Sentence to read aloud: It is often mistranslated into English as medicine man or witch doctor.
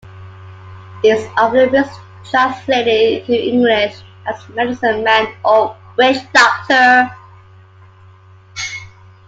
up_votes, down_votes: 0, 2